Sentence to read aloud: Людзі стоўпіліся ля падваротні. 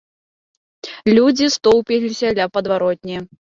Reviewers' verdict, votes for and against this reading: accepted, 2, 0